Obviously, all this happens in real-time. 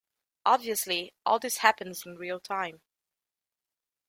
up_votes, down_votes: 2, 0